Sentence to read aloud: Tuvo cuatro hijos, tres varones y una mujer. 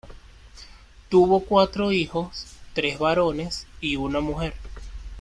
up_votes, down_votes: 2, 0